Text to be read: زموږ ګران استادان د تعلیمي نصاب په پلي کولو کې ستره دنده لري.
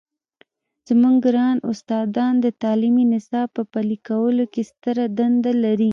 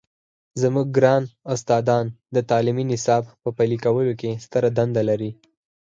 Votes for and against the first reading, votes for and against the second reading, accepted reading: 1, 2, 4, 0, second